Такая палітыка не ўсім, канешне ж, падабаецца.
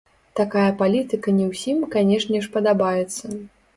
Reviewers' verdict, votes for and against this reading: rejected, 0, 2